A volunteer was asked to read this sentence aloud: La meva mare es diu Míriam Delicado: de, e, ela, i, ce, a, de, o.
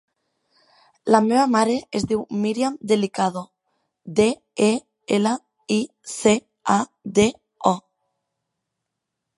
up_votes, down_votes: 1, 2